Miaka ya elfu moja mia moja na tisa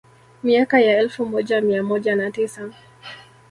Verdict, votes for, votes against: accepted, 2, 0